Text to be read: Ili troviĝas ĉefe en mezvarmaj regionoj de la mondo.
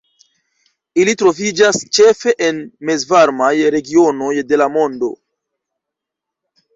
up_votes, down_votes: 2, 0